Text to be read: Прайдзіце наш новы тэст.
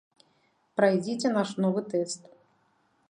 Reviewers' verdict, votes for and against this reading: accepted, 2, 0